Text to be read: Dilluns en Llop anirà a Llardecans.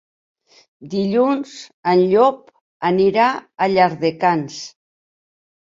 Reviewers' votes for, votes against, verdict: 2, 0, accepted